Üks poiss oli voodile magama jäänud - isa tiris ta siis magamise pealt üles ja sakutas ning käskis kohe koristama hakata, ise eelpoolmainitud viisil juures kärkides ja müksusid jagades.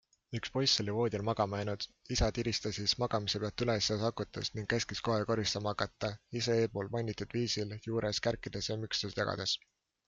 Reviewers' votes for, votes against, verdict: 2, 0, accepted